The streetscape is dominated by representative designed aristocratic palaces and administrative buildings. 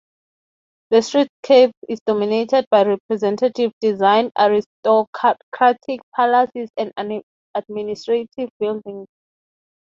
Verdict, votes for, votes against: rejected, 0, 3